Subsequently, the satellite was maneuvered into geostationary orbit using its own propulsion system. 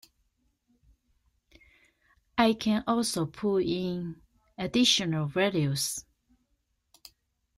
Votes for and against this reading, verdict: 0, 2, rejected